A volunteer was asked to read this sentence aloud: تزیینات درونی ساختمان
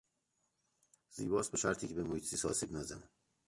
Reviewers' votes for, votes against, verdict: 0, 2, rejected